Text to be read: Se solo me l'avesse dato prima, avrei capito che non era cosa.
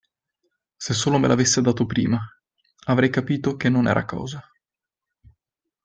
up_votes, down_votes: 2, 0